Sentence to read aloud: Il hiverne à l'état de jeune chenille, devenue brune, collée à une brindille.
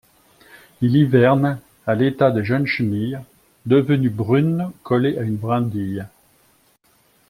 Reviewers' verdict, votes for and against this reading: accepted, 2, 0